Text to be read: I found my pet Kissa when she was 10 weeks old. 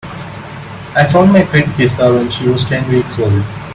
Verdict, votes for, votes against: rejected, 0, 2